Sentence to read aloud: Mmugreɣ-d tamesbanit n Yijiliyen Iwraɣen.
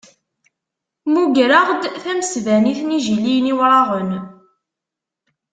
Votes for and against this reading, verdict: 2, 0, accepted